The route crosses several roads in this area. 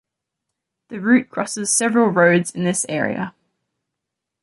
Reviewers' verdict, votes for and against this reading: accepted, 2, 0